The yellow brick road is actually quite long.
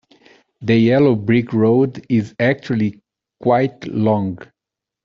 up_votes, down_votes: 2, 0